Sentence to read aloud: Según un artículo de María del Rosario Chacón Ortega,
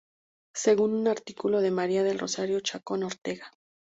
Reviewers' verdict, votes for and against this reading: rejected, 0, 2